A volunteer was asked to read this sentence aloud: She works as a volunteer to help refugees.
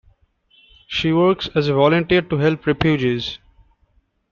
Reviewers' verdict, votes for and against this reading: rejected, 0, 2